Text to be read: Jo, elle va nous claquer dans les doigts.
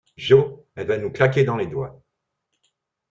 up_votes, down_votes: 2, 0